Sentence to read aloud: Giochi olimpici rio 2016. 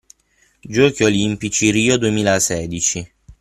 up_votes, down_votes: 0, 2